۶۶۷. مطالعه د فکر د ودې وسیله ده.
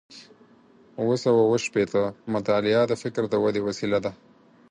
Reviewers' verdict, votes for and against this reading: rejected, 0, 2